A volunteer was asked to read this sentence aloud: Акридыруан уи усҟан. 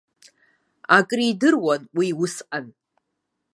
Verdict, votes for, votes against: rejected, 0, 3